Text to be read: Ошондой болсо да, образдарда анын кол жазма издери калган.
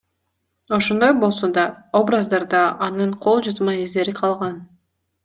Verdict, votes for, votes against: accepted, 2, 0